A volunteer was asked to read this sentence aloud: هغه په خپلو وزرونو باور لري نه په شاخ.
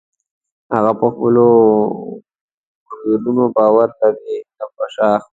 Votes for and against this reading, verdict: 2, 3, rejected